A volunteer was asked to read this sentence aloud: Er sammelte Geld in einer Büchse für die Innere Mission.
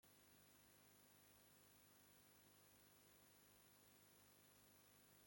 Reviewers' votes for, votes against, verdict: 0, 2, rejected